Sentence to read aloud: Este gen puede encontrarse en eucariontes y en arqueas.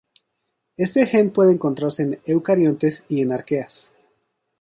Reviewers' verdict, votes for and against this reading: accepted, 2, 0